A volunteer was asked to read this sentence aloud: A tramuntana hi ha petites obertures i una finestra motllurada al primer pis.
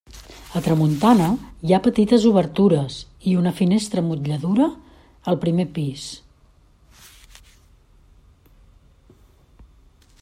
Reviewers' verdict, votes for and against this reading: rejected, 1, 2